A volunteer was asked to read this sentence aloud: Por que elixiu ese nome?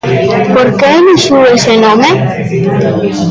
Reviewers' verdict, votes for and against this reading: rejected, 1, 2